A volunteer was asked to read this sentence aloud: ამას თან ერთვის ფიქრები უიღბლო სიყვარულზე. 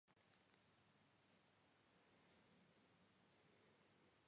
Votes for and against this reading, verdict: 0, 2, rejected